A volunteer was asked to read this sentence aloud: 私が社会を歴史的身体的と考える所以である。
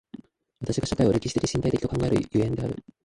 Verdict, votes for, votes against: rejected, 1, 2